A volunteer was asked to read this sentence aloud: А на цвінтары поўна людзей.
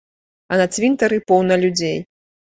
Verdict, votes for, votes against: accepted, 2, 1